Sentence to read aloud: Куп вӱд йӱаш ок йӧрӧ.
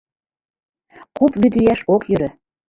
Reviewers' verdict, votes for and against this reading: accepted, 2, 1